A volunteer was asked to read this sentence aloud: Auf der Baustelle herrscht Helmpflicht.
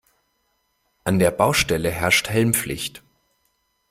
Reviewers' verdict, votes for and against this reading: rejected, 0, 2